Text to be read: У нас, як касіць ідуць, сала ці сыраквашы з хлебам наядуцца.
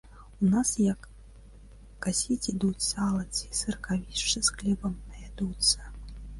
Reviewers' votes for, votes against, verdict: 0, 2, rejected